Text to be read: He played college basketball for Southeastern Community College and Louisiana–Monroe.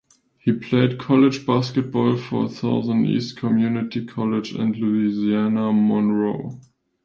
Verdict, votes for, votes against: rejected, 0, 2